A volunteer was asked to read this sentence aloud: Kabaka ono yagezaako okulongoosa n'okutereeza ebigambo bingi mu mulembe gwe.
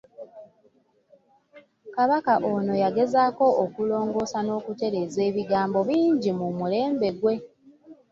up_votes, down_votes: 2, 0